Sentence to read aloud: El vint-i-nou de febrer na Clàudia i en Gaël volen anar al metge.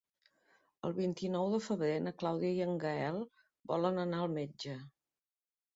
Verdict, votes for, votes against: accepted, 2, 0